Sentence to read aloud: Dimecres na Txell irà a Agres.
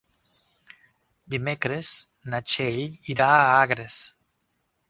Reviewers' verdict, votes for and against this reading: accepted, 4, 0